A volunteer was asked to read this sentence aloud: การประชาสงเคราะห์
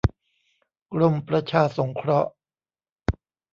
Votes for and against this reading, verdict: 0, 2, rejected